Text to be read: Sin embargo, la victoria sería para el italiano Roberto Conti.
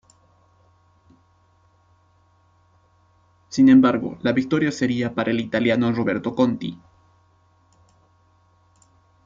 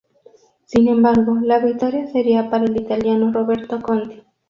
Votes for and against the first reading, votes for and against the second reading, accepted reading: 0, 2, 2, 0, second